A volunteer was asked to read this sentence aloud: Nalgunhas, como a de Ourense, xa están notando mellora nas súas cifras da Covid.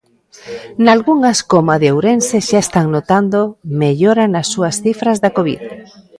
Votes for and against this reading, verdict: 2, 0, accepted